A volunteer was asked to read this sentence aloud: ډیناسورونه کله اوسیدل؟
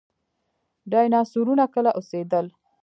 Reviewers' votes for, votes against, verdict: 0, 2, rejected